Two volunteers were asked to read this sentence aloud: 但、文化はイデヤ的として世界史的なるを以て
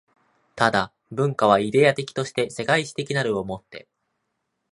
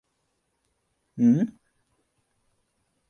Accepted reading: first